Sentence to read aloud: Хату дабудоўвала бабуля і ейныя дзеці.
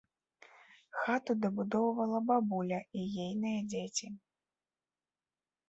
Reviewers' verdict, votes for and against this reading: accepted, 2, 0